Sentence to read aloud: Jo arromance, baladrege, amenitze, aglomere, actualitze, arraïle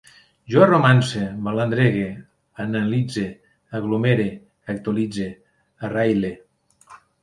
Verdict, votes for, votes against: rejected, 1, 2